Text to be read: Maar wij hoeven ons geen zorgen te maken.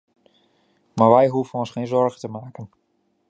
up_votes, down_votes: 2, 0